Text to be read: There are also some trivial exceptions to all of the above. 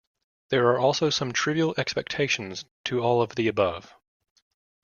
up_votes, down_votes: 0, 2